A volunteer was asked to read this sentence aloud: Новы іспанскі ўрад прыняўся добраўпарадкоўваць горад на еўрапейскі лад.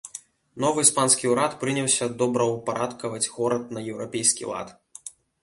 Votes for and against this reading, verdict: 1, 2, rejected